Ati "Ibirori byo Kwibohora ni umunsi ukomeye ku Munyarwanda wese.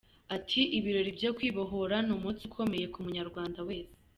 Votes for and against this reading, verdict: 2, 0, accepted